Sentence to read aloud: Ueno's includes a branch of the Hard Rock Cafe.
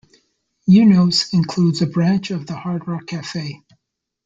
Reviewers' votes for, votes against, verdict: 2, 0, accepted